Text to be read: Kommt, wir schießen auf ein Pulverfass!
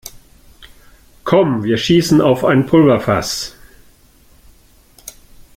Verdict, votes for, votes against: rejected, 0, 2